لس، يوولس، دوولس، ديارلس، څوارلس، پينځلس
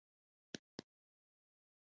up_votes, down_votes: 0, 2